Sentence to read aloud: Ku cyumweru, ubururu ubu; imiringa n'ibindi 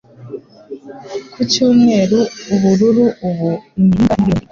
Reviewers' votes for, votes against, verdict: 1, 2, rejected